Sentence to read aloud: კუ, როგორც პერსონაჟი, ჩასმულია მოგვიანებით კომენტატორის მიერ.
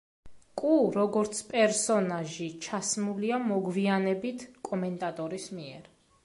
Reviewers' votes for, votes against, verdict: 2, 0, accepted